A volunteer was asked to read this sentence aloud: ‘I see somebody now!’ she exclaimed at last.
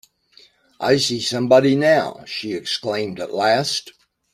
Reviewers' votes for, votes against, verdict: 2, 0, accepted